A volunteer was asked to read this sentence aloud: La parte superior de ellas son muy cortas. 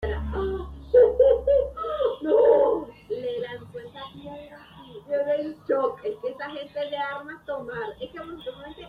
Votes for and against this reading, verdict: 0, 2, rejected